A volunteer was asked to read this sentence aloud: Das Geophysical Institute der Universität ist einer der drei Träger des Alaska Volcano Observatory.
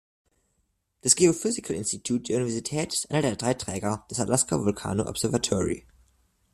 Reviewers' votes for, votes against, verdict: 2, 0, accepted